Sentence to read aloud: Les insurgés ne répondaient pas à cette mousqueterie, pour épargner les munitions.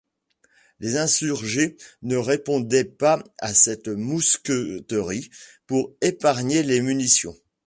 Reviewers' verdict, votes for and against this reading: rejected, 1, 2